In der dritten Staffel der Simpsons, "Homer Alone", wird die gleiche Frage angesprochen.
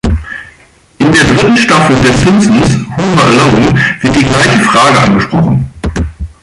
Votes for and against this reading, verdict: 2, 3, rejected